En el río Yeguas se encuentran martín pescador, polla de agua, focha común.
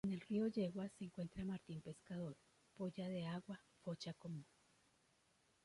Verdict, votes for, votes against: rejected, 0, 2